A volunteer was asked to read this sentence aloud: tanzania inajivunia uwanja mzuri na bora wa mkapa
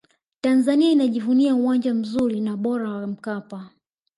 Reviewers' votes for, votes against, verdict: 1, 2, rejected